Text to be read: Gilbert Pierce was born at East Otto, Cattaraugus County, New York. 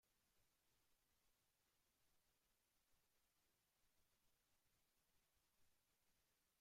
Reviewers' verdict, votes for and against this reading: rejected, 0, 2